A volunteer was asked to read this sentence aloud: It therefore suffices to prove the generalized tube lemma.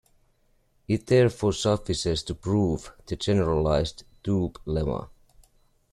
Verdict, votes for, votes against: rejected, 1, 2